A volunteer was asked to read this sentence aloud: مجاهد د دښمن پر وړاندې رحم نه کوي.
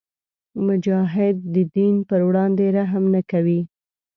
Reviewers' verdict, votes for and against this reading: rejected, 1, 2